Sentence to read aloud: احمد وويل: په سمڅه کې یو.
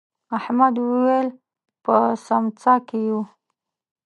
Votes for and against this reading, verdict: 0, 2, rejected